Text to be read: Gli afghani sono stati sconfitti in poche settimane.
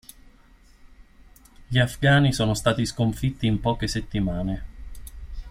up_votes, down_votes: 2, 0